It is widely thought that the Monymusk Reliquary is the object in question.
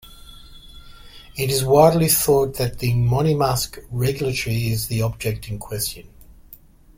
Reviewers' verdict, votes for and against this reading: rejected, 0, 2